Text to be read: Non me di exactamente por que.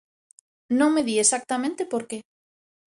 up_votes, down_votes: 2, 0